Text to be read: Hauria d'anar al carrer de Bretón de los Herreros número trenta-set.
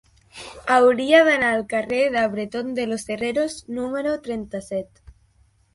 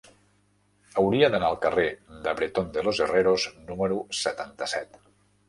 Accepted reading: first